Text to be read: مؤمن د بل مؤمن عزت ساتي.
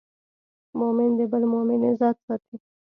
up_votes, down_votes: 2, 0